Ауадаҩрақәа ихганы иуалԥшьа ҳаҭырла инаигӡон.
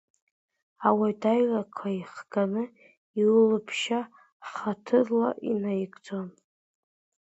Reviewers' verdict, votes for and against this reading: rejected, 1, 2